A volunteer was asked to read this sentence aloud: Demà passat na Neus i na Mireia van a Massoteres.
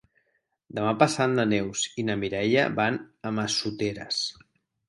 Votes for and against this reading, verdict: 6, 0, accepted